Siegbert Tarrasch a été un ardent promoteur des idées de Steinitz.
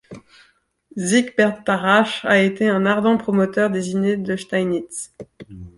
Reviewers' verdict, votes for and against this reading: accepted, 2, 0